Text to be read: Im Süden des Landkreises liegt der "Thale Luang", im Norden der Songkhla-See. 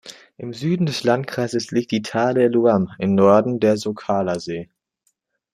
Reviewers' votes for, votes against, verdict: 2, 0, accepted